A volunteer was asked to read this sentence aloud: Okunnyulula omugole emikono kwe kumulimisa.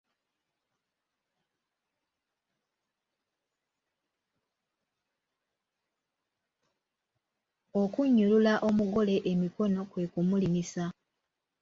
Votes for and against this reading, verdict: 1, 2, rejected